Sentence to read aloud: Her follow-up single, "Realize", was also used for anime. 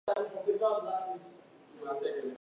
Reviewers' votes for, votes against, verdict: 0, 2, rejected